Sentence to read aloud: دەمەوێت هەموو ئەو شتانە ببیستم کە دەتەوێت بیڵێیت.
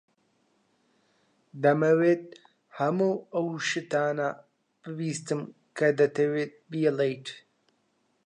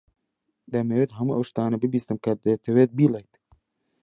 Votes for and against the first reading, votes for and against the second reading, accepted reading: 1, 2, 2, 1, second